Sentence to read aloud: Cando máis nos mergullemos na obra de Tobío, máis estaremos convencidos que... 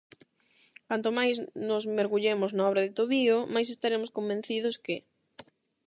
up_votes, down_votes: 0, 8